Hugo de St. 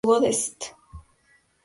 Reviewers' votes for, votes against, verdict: 0, 2, rejected